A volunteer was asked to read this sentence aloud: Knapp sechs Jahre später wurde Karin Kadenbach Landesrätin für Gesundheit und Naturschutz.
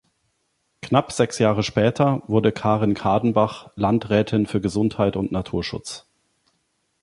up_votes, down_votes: 2, 3